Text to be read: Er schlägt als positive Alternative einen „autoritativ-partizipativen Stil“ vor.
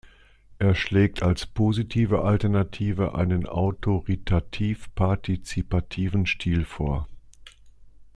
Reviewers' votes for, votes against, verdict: 2, 0, accepted